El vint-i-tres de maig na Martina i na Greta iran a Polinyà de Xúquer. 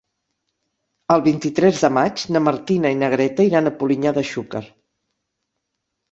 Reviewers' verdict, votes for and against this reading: accepted, 6, 0